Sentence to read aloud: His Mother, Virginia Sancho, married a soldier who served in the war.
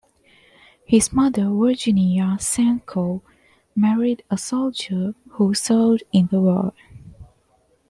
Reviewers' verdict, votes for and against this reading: accepted, 2, 1